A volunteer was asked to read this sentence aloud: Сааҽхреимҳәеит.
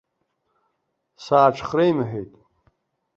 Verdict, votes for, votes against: accepted, 2, 0